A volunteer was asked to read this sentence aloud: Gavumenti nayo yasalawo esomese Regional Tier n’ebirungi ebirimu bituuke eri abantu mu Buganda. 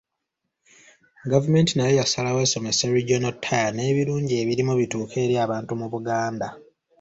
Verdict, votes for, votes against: accepted, 2, 0